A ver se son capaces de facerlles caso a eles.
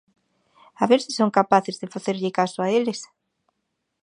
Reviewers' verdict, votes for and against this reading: accepted, 4, 0